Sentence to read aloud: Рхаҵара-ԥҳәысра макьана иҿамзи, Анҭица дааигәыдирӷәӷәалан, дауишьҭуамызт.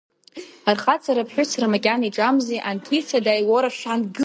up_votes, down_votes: 0, 2